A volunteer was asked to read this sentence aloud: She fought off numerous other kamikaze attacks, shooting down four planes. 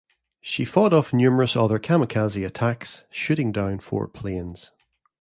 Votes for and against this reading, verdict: 2, 0, accepted